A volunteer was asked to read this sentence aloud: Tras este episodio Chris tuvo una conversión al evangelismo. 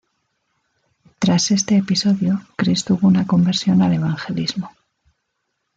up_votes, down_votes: 2, 0